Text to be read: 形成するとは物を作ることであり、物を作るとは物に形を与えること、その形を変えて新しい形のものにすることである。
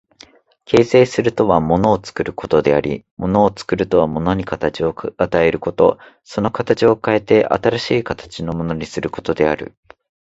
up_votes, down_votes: 2, 0